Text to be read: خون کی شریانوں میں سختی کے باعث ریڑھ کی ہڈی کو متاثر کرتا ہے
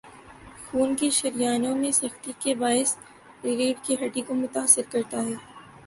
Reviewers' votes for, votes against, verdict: 0, 2, rejected